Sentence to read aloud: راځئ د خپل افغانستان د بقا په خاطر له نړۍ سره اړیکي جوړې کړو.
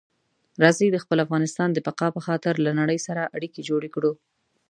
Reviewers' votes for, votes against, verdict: 2, 1, accepted